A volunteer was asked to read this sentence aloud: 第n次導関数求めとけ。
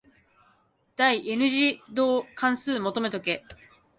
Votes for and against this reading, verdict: 2, 0, accepted